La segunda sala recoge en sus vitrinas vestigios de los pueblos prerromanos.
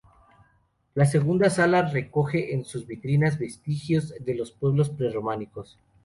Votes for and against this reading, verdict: 0, 2, rejected